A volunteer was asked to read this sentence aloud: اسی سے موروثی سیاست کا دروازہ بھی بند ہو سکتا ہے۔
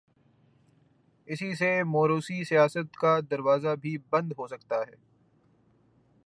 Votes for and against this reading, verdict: 3, 0, accepted